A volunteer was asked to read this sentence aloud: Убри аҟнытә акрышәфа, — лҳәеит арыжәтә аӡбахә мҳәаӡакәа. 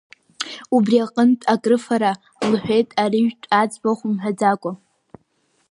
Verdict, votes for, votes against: rejected, 0, 2